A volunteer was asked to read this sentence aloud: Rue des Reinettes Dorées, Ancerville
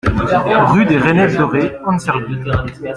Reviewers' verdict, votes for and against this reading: rejected, 1, 2